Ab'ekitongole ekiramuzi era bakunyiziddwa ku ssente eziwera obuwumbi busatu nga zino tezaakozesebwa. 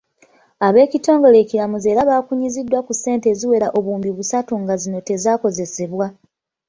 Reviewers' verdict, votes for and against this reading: accepted, 3, 0